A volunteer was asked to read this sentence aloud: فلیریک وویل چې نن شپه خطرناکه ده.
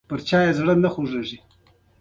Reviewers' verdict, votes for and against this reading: rejected, 1, 2